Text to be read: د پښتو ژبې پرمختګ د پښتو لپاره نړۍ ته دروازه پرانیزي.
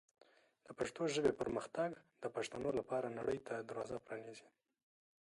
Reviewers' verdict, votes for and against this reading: rejected, 0, 2